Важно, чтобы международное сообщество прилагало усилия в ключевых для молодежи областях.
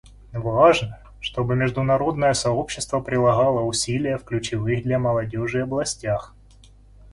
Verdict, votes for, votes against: accepted, 2, 0